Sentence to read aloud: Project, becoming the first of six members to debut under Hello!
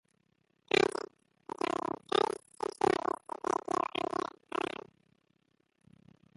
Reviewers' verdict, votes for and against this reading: rejected, 0, 2